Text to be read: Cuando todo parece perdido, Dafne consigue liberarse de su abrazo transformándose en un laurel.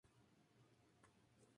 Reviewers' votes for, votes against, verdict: 4, 2, accepted